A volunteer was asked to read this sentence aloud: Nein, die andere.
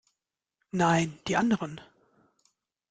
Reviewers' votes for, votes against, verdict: 0, 2, rejected